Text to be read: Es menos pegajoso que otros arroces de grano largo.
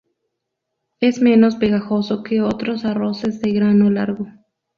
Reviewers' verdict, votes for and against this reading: accepted, 2, 0